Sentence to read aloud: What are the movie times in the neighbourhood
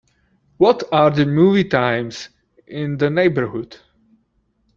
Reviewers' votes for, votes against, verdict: 2, 0, accepted